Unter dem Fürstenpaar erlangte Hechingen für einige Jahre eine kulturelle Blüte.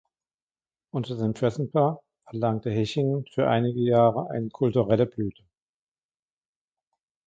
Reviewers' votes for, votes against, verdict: 2, 0, accepted